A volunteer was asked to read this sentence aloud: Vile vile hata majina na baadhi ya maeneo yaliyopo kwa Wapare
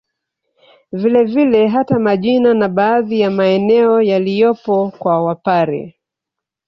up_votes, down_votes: 2, 0